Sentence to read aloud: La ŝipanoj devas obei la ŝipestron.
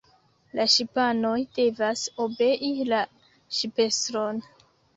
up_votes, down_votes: 0, 2